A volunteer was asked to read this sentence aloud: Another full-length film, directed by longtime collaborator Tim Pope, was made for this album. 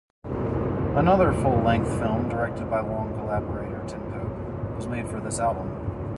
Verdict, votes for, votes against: rejected, 0, 2